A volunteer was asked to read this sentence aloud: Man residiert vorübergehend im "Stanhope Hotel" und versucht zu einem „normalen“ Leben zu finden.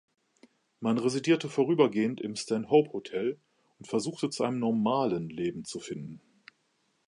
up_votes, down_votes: 0, 2